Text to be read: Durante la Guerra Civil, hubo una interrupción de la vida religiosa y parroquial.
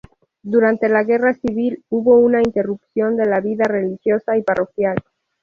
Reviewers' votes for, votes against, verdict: 6, 0, accepted